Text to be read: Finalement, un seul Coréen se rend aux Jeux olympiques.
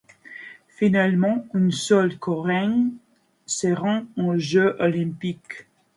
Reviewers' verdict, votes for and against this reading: accepted, 2, 0